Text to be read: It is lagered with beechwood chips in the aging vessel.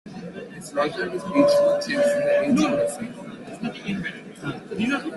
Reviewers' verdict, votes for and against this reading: rejected, 0, 3